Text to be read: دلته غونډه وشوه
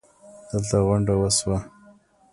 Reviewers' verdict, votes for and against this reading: accepted, 2, 1